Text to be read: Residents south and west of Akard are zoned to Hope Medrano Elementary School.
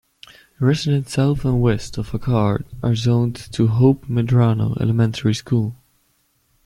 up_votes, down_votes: 2, 0